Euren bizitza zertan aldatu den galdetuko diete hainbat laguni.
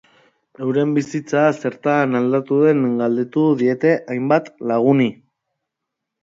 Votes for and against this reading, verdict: 0, 2, rejected